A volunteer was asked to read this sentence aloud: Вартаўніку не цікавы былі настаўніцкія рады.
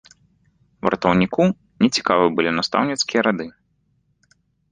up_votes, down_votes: 0, 2